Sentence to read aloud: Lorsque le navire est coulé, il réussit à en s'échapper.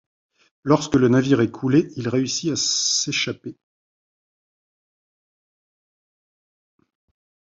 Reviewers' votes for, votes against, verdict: 1, 2, rejected